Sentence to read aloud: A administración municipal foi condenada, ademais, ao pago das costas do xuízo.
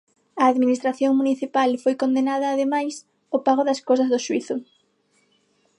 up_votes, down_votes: 6, 9